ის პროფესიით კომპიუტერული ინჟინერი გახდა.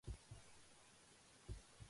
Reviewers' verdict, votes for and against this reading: rejected, 1, 2